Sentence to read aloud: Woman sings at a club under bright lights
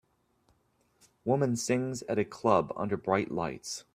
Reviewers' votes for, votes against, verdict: 2, 0, accepted